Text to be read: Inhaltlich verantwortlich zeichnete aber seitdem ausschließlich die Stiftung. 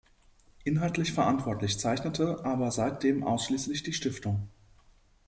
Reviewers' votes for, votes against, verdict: 2, 0, accepted